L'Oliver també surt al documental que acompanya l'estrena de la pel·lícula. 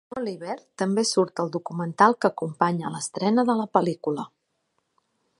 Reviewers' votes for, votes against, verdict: 1, 2, rejected